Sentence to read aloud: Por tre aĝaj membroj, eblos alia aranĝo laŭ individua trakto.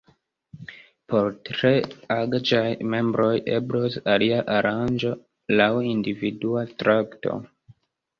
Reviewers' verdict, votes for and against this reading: rejected, 0, 2